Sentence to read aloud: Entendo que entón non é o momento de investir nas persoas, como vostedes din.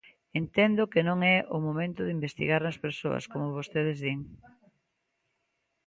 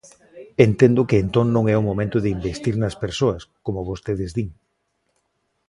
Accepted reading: second